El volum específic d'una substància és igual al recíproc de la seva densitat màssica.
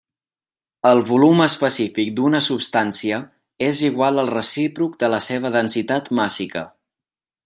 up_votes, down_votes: 3, 0